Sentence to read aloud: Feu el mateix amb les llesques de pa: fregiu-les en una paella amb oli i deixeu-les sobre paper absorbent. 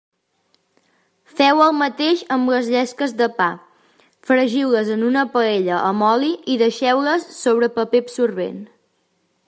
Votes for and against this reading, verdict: 3, 0, accepted